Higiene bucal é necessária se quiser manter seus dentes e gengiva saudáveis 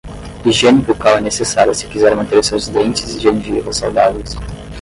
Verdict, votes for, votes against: rejected, 5, 10